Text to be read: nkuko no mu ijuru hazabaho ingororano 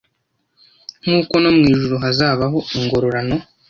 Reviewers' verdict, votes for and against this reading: accepted, 2, 0